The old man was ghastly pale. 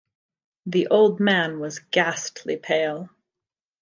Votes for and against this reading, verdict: 2, 0, accepted